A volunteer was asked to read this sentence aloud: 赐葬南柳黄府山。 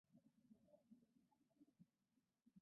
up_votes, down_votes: 0, 2